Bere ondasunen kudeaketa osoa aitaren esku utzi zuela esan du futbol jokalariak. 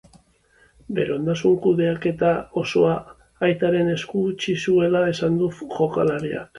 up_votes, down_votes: 0, 2